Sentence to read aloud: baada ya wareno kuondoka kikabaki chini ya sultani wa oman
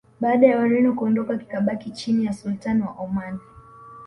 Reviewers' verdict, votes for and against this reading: accepted, 2, 1